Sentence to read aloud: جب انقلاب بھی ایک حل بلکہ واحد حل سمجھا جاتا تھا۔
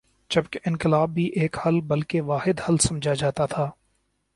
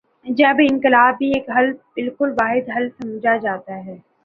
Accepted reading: first